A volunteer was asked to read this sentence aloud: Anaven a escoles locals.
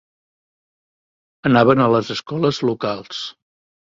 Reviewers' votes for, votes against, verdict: 0, 2, rejected